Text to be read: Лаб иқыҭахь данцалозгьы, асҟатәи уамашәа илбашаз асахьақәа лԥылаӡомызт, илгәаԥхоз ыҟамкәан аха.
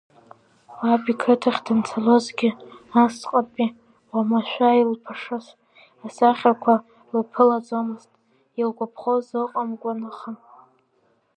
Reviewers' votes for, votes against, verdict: 1, 2, rejected